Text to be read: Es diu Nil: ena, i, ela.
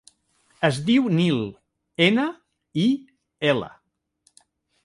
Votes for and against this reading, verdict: 2, 0, accepted